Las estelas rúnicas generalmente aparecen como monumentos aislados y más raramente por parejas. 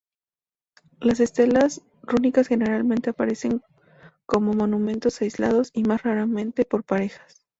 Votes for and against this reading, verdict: 2, 0, accepted